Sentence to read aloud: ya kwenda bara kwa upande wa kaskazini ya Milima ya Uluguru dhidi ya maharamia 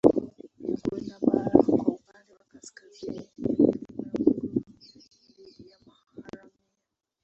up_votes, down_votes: 0, 2